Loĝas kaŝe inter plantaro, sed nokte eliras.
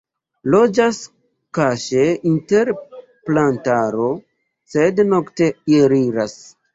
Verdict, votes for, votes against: rejected, 0, 2